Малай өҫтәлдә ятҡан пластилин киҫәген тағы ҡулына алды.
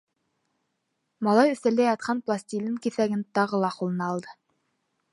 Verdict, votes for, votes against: rejected, 0, 2